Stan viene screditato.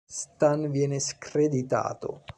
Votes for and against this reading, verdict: 2, 1, accepted